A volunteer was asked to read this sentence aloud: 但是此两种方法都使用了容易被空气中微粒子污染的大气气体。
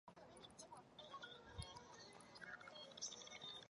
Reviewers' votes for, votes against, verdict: 0, 3, rejected